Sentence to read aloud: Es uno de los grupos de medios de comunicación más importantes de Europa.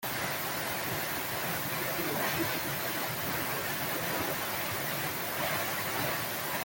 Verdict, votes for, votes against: rejected, 0, 4